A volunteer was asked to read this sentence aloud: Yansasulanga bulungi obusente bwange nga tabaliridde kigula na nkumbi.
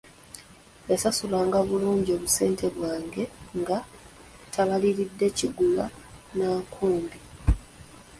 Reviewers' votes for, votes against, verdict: 0, 2, rejected